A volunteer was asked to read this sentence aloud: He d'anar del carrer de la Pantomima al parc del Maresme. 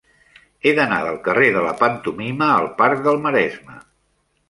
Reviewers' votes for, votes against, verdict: 3, 0, accepted